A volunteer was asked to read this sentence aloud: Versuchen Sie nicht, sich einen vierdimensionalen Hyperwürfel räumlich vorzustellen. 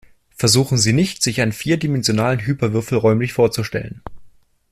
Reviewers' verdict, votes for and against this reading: accepted, 2, 0